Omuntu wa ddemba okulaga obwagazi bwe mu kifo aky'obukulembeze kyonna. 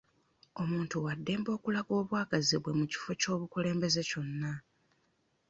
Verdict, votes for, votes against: rejected, 1, 2